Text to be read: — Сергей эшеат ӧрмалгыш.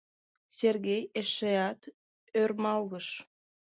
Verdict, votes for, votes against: accepted, 3, 2